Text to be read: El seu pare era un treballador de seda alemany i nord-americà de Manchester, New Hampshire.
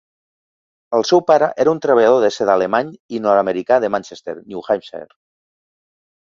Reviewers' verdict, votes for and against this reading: accepted, 2, 0